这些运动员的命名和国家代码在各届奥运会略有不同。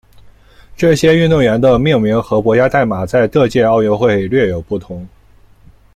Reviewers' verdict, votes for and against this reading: accepted, 2, 0